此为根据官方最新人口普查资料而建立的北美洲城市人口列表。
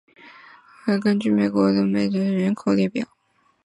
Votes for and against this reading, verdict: 2, 1, accepted